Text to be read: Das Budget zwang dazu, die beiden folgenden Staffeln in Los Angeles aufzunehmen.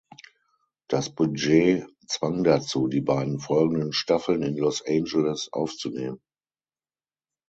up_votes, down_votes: 6, 0